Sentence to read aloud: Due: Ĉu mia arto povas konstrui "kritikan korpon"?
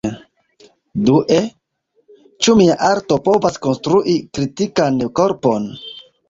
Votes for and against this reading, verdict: 1, 2, rejected